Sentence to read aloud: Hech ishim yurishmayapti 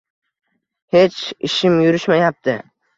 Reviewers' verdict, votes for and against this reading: accepted, 2, 0